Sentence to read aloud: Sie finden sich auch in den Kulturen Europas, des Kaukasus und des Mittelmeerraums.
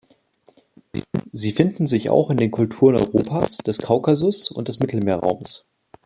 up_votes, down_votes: 2, 1